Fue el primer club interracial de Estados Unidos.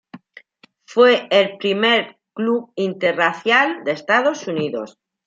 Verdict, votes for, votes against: accepted, 2, 0